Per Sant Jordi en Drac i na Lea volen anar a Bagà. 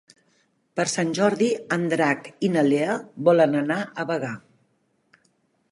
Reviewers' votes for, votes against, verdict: 2, 0, accepted